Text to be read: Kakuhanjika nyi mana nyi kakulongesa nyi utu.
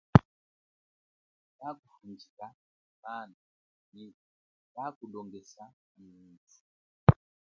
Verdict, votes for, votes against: rejected, 1, 2